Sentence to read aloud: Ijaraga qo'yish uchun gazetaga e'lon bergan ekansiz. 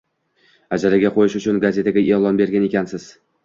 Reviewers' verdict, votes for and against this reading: rejected, 1, 2